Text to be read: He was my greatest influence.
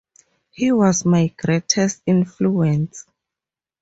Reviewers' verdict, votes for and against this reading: accepted, 2, 0